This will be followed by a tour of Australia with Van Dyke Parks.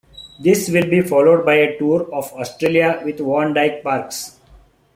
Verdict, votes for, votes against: rejected, 0, 2